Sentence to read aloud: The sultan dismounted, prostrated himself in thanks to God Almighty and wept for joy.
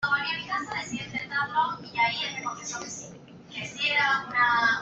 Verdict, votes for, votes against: rejected, 0, 2